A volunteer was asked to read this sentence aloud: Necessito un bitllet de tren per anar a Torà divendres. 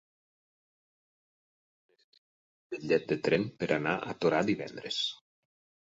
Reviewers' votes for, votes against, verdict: 0, 8, rejected